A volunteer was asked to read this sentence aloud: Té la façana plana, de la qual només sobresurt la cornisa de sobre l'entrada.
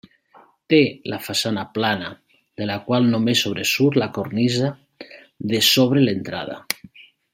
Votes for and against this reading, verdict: 3, 0, accepted